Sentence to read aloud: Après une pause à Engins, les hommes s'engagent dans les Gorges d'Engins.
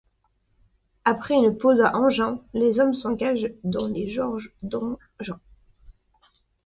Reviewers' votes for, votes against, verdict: 1, 2, rejected